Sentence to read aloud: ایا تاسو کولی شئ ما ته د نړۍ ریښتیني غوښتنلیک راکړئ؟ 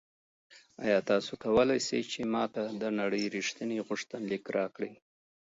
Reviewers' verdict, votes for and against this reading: rejected, 0, 2